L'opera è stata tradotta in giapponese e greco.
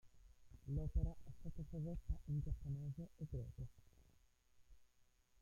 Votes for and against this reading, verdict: 0, 2, rejected